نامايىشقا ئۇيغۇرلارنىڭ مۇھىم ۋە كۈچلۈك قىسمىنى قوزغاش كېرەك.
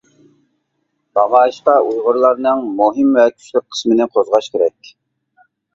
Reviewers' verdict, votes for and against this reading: rejected, 1, 2